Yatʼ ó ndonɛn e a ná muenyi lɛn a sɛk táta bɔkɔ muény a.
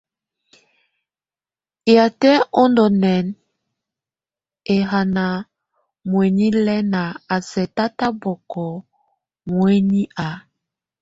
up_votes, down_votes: 1, 2